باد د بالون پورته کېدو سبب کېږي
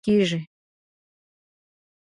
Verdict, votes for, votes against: rejected, 1, 2